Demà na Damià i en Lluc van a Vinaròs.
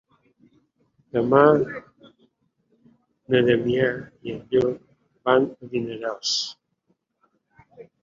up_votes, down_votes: 0, 2